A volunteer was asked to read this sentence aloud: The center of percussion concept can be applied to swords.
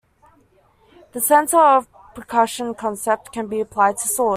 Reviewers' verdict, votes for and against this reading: accepted, 2, 0